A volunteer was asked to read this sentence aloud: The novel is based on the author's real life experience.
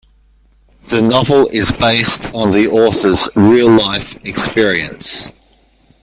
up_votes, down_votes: 2, 1